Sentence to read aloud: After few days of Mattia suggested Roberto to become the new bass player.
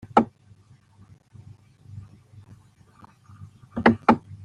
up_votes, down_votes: 0, 2